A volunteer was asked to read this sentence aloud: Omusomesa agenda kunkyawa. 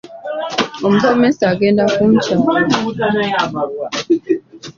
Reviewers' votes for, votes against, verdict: 2, 0, accepted